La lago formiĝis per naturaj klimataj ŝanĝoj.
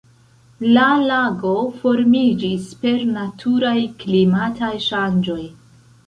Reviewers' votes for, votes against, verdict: 2, 1, accepted